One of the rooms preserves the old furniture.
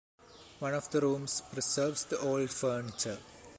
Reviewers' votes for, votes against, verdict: 1, 2, rejected